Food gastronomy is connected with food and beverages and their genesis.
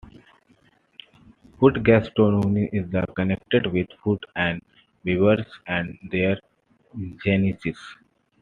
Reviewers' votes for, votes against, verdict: 0, 2, rejected